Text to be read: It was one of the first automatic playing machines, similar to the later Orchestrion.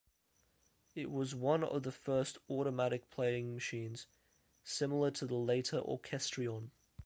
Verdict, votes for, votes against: accepted, 2, 0